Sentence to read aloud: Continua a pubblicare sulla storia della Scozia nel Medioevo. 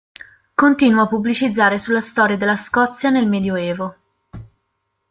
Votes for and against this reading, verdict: 1, 3, rejected